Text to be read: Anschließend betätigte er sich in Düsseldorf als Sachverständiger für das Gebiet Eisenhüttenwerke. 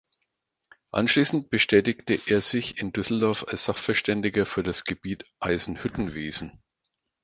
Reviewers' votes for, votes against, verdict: 0, 4, rejected